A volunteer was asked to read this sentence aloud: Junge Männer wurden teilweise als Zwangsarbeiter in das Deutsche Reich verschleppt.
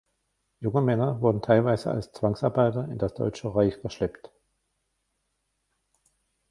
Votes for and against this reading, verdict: 1, 2, rejected